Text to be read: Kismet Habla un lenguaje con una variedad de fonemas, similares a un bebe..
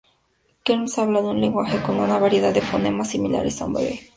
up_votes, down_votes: 0, 2